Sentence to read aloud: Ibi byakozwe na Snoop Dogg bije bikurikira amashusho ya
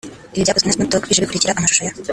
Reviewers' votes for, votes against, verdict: 0, 2, rejected